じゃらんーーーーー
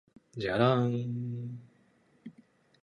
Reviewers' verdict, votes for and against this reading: accepted, 3, 0